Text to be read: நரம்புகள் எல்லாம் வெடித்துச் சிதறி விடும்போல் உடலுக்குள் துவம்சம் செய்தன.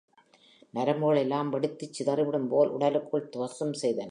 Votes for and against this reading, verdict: 2, 0, accepted